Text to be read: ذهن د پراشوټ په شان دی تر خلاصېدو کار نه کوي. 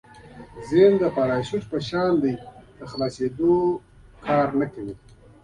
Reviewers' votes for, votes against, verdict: 2, 0, accepted